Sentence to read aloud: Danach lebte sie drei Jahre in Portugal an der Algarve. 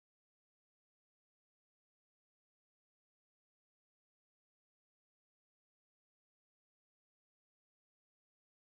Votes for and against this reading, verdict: 0, 2, rejected